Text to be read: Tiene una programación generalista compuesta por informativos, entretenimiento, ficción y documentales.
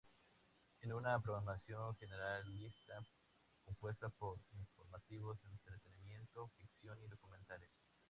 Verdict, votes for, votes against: accepted, 2, 0